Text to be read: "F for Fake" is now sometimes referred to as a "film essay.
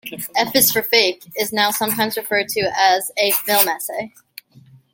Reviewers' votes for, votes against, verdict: 1, 2, rejected